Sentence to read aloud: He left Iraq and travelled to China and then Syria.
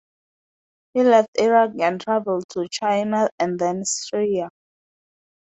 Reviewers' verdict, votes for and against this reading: rejected, 0, 2